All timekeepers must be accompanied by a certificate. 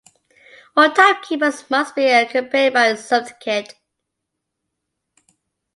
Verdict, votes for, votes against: rejected, 0, 2